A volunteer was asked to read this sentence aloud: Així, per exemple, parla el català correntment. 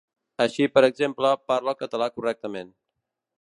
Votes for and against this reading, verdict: 0, 2, rejected